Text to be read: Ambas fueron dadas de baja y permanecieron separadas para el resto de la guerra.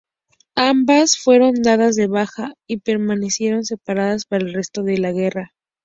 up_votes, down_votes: 6, 0